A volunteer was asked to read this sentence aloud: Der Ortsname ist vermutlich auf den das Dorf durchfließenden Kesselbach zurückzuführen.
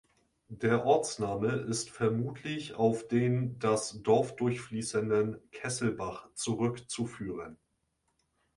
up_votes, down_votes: 2, 0